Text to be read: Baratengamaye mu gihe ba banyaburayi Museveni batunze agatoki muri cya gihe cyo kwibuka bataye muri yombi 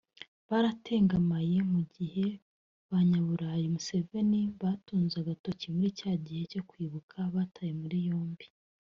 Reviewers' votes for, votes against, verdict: 0, 2, rejected